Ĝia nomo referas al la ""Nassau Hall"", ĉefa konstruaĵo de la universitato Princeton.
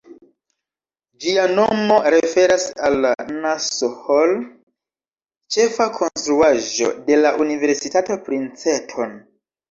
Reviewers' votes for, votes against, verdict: 1, 2, rejected